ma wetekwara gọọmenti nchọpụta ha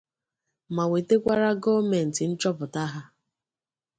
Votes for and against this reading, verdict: 2, 0, accepted